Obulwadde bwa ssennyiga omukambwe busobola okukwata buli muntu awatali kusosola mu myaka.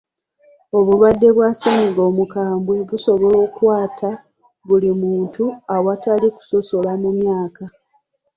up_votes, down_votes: 2, 0